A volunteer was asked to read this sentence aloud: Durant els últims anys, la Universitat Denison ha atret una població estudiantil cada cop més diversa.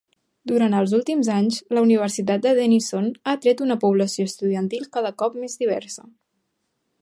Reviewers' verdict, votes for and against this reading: rejected, 0, 2